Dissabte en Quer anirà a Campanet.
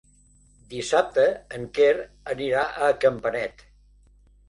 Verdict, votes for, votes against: accepted, 3, 0